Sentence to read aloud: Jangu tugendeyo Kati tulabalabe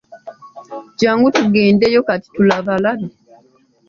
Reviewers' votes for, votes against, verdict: 2, 0, accepted